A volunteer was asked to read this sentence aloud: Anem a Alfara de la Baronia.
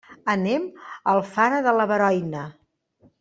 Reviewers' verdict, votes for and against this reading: rejected, 0, 2